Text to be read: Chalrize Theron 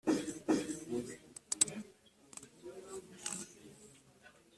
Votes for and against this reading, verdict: 1, 2, rejected